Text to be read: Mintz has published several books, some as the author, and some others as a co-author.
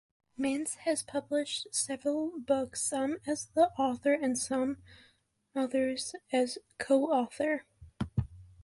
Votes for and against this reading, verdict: 2, 3, rejected